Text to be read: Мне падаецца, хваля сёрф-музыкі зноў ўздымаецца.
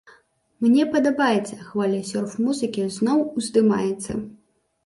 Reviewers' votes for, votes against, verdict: 0, 2, rejected